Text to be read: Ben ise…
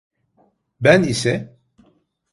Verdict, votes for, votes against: accepted, 2, 0